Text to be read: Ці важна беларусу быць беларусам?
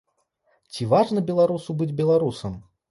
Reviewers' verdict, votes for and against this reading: accepted, 2, 0